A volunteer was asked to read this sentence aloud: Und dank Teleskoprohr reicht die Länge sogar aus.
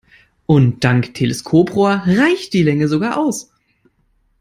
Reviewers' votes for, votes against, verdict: 2, 0, accepted